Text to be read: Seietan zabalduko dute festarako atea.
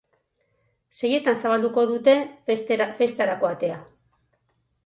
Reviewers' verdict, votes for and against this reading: rejected, 2, 2